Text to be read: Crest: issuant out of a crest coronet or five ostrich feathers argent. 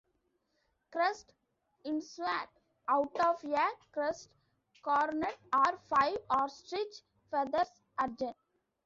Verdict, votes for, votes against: rejected, 1, 3